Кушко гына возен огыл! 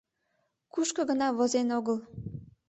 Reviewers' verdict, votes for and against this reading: accepted, 2, 0